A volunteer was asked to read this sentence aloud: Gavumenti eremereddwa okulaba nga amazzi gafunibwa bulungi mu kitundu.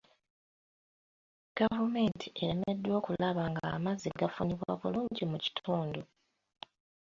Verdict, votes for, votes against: rejected, 0, 2